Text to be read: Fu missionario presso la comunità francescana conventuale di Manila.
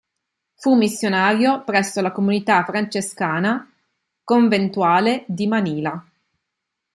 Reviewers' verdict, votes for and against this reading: accepted, 2, 0